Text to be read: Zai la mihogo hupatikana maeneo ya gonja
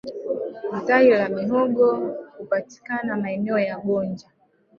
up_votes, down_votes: 5, 0